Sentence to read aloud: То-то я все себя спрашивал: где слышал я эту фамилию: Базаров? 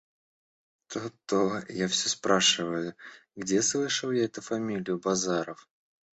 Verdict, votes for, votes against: rejected, 1, 2